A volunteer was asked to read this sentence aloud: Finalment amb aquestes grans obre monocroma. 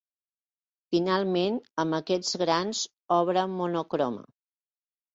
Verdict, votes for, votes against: rejected, 2, 3